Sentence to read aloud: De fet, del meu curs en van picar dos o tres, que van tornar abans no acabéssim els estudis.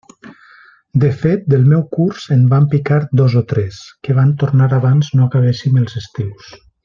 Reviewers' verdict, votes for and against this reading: rejected, 1, 2